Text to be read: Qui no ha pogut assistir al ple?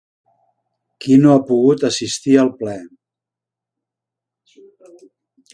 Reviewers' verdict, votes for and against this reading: accepted, 4, 2